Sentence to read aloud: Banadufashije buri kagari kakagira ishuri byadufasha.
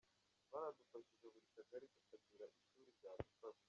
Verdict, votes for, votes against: rejected, 0, 2